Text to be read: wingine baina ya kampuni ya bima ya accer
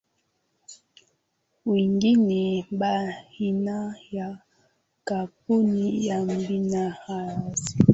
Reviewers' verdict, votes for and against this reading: accepted, 2, 1